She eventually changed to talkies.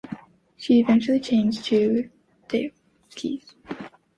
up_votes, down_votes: 2, 1